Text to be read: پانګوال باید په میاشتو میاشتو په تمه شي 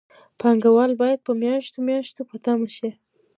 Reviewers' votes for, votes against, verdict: 0, 2, rejected